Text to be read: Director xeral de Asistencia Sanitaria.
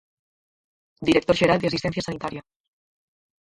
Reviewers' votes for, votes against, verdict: 0, 4, rejected